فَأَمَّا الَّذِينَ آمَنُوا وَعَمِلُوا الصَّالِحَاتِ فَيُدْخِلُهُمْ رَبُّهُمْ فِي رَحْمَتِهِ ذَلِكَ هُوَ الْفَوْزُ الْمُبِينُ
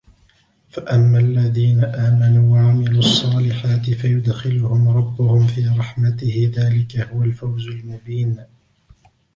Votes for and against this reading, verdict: 3, 0, accepted